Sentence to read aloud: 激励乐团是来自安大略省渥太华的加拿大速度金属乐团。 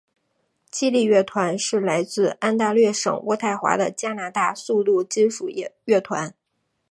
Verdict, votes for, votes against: rejected, 2, 4